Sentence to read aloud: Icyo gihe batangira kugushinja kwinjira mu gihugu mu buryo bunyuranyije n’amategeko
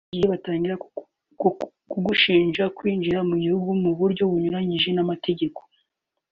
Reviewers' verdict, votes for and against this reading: rejected, 0, 2